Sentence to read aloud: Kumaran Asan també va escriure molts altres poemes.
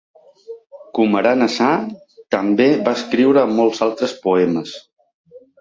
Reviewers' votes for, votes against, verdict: 2, 1, accepted